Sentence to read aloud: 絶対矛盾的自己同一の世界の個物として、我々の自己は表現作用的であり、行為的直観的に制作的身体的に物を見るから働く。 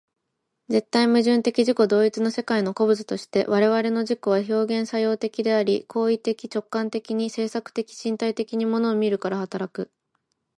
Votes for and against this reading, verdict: 2, 0, accepted